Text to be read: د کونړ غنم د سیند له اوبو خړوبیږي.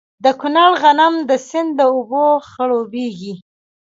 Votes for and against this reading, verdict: 2, 0, accepted